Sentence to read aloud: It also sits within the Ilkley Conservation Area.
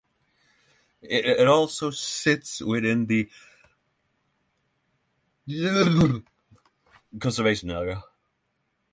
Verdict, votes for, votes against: rejected, 0, 3